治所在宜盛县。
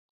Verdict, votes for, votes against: rejected, 0, 2